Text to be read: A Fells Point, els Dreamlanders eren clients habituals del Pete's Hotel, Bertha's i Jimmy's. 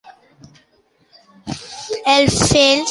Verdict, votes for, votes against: rejected, 0, 3